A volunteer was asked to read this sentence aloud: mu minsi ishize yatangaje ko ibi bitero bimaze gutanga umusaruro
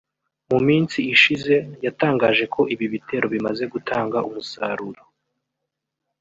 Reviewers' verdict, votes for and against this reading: rejected, 1, 2